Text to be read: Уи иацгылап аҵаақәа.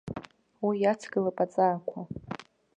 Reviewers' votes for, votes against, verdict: 0, 2, rejected